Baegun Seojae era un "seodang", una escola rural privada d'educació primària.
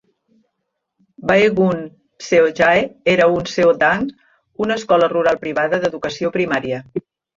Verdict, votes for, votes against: rejected, 1, 2